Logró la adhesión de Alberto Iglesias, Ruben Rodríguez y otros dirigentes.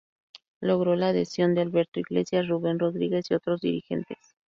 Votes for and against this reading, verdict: 0, 2, rejected